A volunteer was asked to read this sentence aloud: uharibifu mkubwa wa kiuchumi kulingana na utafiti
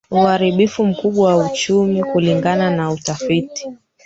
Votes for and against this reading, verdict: 0, 4, rejected